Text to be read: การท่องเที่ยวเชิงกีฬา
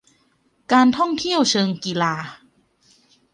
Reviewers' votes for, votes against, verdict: 2, 0, accepted